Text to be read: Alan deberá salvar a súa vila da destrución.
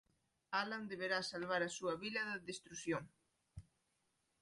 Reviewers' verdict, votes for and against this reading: rejected, 0, 2